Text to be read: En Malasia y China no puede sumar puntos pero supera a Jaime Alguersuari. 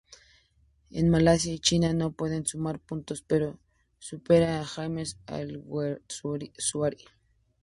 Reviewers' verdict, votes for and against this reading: rejected, 0, 4